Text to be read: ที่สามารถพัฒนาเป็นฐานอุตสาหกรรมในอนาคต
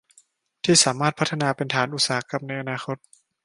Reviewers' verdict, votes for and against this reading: accepted, 3, 0